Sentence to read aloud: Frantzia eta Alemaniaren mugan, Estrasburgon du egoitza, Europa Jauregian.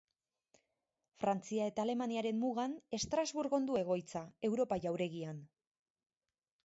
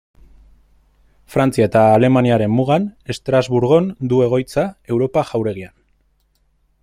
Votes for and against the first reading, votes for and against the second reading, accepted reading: 4, 0, 0, 2, first